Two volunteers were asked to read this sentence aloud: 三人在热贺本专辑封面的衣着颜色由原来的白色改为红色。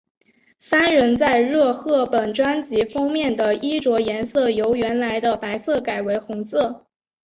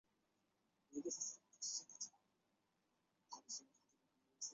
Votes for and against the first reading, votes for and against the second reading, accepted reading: 3, 0, 0, 2, first